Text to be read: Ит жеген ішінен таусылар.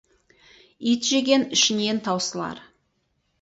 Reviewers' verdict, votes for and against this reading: accepted, 4, 0